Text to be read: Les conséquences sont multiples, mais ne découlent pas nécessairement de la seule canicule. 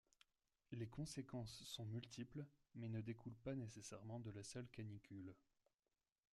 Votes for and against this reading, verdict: 1, 2, rejected